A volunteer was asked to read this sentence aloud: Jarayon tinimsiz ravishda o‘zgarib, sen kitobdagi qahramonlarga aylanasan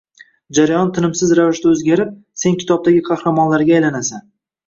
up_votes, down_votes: 2, 0